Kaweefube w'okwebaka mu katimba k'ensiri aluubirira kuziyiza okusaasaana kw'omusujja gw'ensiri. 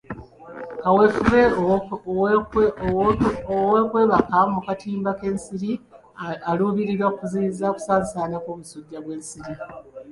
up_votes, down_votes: 0, 2